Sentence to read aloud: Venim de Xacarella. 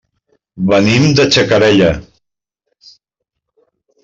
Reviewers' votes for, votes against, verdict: 1, 2, rejected